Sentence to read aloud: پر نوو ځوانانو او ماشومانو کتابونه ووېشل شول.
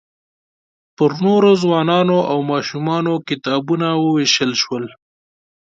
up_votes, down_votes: 1, 2